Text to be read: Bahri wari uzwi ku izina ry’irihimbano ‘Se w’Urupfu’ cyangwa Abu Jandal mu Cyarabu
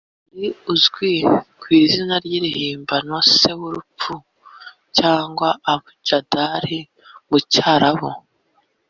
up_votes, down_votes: 0, 2